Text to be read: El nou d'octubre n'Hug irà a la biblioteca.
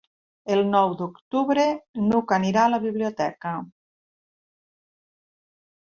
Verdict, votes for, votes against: rejected, 1, 2